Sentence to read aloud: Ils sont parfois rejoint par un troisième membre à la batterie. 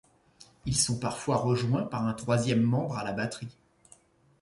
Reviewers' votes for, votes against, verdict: 2, 0, accepted